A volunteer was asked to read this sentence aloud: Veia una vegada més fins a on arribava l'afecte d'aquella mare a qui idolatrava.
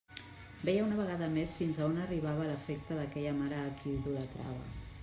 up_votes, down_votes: 1, 2